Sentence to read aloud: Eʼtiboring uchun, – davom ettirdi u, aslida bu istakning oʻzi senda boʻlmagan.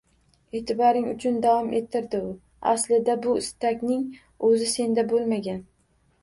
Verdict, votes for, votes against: accepted, 2, 0